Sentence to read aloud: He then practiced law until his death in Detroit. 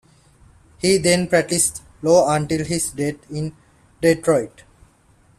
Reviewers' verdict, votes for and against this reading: rejected, 1, 2